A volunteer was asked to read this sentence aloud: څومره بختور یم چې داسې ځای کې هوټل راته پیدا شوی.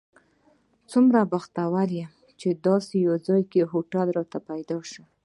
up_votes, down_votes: 0, 2